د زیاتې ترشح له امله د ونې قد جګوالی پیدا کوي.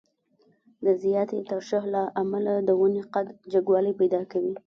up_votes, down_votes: 0, 2